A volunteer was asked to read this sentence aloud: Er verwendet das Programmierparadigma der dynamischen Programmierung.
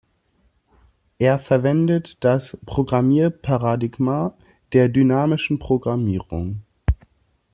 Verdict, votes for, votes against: accepted, 2, 0